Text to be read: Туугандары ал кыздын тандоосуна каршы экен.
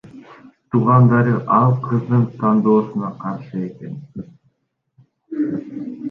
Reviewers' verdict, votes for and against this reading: rejected, 1, 2